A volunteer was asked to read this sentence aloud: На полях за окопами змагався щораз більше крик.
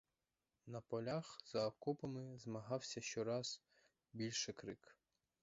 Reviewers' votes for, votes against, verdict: 2, 4, rejected